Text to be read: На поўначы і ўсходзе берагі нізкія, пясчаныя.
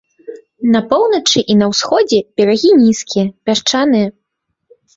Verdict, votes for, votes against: rejected, 0, 2